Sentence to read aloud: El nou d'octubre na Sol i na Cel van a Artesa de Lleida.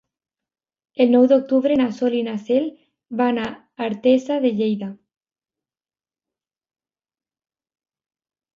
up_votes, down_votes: 2, 0